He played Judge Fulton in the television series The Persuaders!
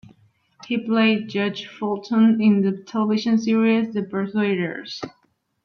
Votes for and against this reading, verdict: 2, 1, accepted